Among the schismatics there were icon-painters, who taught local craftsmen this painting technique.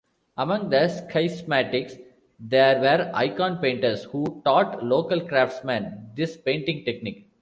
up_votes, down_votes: 0, 2